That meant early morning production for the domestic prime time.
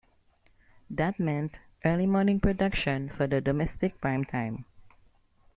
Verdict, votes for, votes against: accepted, 2, 1